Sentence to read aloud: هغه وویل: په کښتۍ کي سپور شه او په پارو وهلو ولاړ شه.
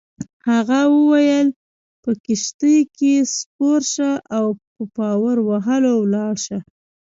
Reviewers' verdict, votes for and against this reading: accepted, 3, 0